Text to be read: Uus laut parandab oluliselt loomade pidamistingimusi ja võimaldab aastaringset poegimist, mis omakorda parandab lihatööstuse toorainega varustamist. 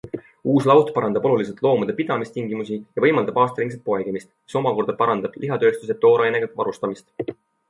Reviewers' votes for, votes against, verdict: 2, 0, accepted